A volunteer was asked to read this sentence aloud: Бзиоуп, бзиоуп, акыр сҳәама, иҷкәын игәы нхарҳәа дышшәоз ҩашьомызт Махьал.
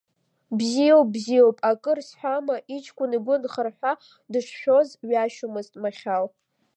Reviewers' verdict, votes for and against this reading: accepted, 2, 0